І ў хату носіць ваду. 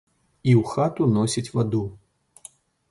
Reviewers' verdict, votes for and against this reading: accepted, 3, 0